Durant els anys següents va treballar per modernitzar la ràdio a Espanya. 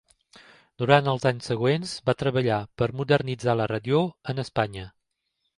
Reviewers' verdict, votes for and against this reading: rejected, 0, 2